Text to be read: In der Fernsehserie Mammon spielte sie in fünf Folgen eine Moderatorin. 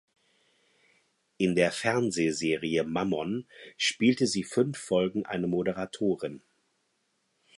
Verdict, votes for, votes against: rejected, 0, 4